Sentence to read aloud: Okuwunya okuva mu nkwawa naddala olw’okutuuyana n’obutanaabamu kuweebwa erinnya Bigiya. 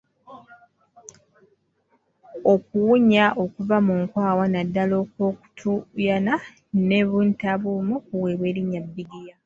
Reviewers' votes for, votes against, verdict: 1, 2, rejected